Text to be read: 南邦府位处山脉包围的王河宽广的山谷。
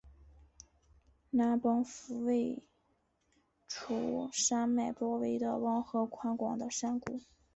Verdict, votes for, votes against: accepted, 2, 1